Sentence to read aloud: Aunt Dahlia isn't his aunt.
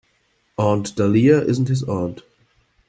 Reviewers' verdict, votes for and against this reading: accepted, 2, 0